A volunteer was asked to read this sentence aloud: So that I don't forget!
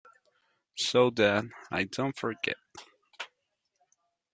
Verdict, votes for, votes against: accepted, 2, 1